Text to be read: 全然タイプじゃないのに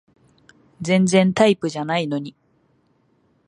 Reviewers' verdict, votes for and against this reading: accepted, 2, 0